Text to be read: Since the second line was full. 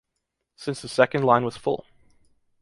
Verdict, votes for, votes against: accepted, 2, 0